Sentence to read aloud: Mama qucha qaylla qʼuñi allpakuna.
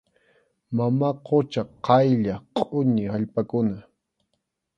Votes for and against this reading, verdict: 2, 0, accepted